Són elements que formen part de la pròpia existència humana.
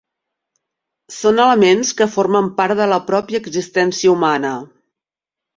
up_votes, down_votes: 3, 0